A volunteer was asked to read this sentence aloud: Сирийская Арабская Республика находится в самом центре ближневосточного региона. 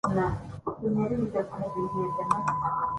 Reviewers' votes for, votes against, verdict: 0, 2, rejected